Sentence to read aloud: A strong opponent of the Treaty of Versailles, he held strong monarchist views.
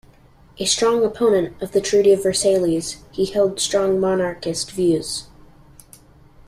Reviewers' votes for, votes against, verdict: 0, 2, rejected